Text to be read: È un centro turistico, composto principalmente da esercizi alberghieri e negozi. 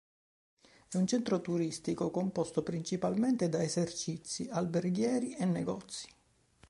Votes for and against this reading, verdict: 2, 0, accepted